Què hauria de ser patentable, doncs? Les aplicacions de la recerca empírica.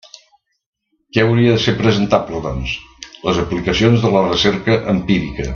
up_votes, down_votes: 0, 2